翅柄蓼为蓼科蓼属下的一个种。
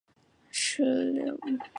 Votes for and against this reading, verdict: 1, 4, rejected